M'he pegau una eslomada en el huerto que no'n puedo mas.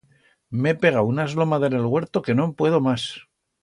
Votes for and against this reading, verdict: 2, 0, accepted